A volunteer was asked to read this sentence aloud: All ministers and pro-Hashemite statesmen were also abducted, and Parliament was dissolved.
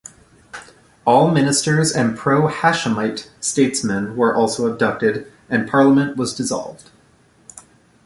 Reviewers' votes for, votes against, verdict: 2, 0, accepted